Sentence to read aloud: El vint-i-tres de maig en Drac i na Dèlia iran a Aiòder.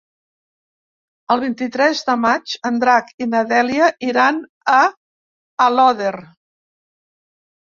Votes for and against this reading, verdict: 0, 2, rejected